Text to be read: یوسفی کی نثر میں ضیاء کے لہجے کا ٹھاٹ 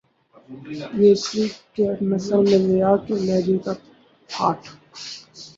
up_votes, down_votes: 2, 0